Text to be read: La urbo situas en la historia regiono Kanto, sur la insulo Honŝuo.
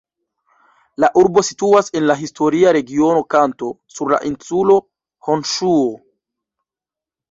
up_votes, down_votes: 0, 2